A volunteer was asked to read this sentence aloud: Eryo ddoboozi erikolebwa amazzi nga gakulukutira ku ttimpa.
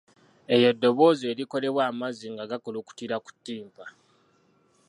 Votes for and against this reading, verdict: 2, 0, accepted